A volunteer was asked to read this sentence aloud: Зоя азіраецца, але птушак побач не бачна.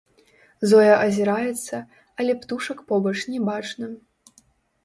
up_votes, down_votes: 1, 2